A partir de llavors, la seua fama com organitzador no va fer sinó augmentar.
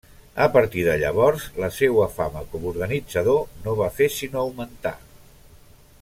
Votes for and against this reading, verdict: 2, 0, accepted